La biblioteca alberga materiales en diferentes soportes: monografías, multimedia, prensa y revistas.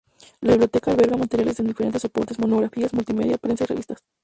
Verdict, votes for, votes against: rejected, 0, 2